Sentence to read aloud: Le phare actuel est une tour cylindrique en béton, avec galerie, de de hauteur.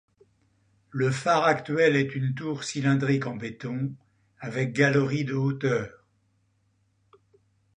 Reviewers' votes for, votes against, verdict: 1, 2, rejected